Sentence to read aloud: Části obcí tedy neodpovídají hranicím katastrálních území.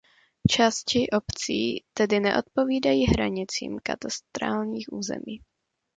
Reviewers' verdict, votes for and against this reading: accepted, 2, 0